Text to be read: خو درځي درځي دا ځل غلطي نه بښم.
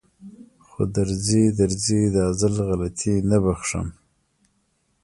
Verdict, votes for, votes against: rejected, 1, 2